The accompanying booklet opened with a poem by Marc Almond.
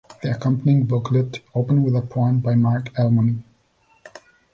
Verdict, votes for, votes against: accepted, 2, 1